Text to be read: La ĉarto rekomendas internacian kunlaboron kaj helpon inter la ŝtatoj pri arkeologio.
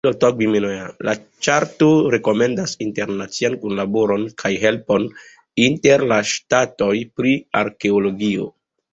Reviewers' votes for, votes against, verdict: 1, 2, rejected